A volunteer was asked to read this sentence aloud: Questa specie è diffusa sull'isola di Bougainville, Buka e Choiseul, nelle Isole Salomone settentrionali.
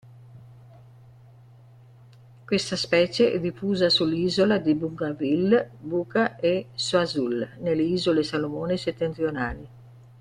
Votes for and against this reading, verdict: 1, 2, rejected